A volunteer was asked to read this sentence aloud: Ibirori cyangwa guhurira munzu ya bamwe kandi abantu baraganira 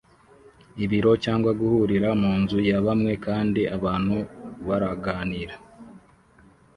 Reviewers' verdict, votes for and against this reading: rejected, 1, 2